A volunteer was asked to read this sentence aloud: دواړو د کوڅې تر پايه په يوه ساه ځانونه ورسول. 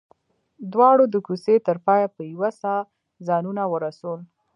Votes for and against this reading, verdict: 2, 0, accepted